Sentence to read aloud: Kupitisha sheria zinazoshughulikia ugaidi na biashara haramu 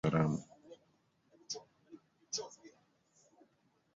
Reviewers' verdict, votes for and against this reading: rejected, 1, 2